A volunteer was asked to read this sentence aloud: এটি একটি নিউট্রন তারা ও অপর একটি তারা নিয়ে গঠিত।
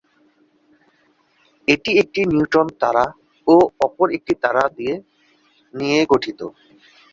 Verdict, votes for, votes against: rejected, 1, 2